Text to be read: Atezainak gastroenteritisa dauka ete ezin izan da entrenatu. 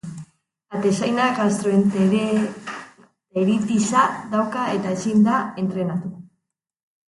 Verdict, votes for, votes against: rejected, 0, 2